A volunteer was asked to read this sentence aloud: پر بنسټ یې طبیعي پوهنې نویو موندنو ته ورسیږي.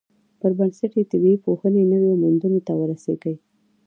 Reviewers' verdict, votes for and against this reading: rejected, 1, 2